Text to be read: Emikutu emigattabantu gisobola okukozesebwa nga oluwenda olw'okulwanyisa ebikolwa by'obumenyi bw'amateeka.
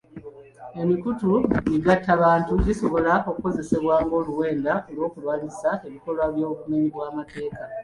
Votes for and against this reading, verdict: 1, 2, rejected